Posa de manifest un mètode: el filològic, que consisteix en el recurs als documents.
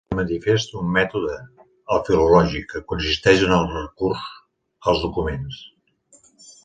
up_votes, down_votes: 0, 2